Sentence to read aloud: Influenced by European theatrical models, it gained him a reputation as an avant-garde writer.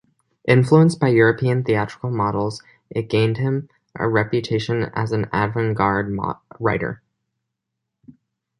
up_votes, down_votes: 1, 2